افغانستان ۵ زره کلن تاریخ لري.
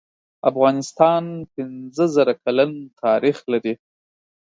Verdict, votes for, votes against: rejected, 0, 2